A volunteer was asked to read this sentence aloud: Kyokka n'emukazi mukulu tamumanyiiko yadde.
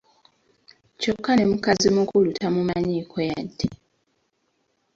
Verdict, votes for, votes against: accepted, 2, 1